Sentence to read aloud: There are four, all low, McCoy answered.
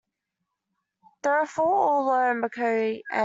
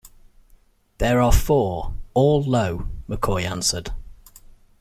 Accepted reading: second